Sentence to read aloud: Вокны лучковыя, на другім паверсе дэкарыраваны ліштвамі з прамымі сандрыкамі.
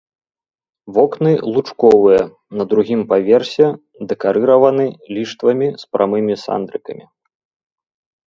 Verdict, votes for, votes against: accepted, 2, 0